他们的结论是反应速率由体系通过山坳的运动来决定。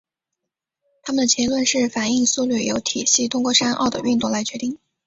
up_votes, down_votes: 2, 0